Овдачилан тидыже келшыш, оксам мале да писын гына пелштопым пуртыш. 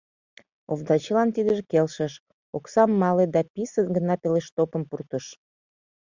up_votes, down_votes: 2, 0